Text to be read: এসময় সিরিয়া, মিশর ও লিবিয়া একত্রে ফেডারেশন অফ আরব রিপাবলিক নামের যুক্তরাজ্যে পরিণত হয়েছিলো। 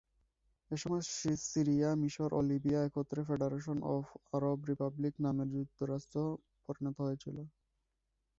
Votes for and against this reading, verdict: 1, 4, rejected